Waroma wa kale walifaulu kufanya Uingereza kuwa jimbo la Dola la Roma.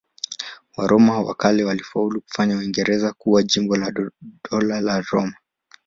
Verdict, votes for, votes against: rejected, 0, 2